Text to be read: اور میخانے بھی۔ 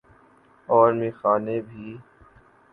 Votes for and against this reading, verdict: 3, 1, accepted